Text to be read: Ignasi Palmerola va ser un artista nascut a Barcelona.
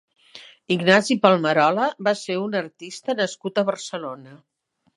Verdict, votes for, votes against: accepted, 3, 0